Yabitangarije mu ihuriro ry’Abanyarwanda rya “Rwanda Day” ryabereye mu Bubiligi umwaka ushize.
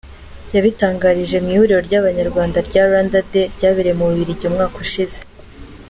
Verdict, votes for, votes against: accepted, 2, 0